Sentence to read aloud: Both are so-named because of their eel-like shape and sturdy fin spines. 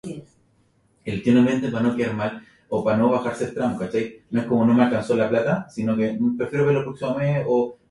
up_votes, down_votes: 0, 2